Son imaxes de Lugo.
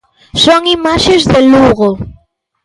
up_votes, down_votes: 2, 0